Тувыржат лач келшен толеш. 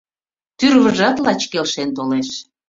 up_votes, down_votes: 1, 2